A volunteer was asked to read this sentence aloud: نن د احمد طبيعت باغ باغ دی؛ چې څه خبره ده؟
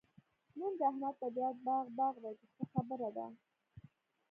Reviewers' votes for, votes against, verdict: 0, 2, rejected